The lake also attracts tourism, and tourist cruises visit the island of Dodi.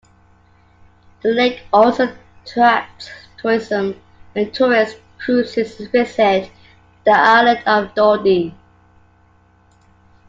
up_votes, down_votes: 2, 0